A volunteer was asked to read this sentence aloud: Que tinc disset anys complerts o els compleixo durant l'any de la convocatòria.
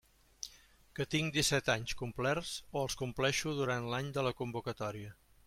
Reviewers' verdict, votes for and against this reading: accepted, 2, 0